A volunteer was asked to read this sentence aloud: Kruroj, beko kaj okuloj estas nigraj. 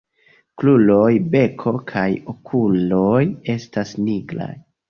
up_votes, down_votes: 1, 2